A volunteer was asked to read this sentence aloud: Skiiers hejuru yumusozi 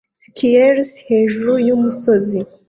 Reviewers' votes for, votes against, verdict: 2, 0, accepted